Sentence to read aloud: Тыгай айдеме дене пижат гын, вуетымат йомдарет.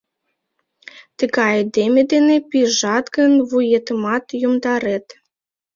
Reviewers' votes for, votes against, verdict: 2, 0, accepted